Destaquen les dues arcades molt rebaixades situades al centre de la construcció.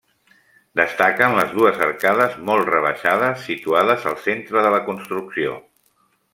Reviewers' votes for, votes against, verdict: 3, 0, accepted